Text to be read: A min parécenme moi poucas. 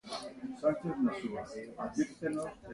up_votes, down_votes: 0, 2